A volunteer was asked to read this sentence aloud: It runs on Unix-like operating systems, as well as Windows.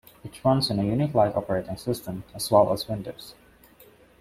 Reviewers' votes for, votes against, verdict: 0, 2, rejected